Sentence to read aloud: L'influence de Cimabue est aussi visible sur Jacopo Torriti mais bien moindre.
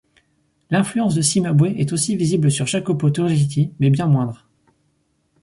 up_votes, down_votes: 4, 2